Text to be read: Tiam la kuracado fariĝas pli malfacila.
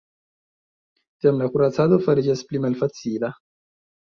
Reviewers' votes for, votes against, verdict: 2, 0, accepted